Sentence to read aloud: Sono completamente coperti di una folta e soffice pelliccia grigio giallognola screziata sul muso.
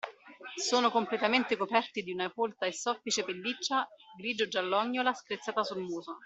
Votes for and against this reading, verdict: 2, 0, accepted